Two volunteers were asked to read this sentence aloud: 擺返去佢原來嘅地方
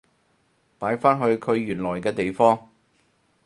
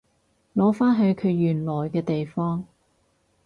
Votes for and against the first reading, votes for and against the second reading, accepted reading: 4, 0, 2, 2, first